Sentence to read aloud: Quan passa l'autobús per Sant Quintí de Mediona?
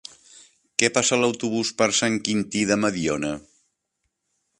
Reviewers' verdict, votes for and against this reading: rejected, 1, 2